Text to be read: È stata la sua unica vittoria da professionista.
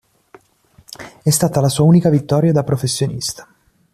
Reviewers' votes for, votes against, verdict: 3, 0, accepted